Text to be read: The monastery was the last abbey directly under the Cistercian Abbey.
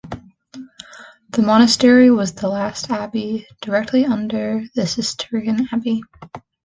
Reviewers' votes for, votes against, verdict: 1, 2, rejected